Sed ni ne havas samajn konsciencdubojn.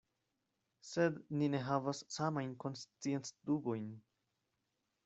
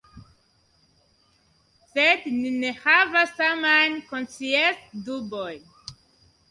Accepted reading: first